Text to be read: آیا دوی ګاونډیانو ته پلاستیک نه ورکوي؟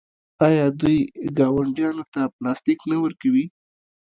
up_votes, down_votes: 2, 1